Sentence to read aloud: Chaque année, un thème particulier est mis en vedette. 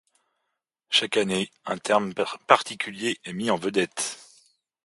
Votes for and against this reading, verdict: 0, 2, rejected